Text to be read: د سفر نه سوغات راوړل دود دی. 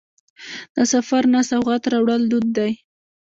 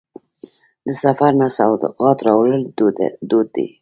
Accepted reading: second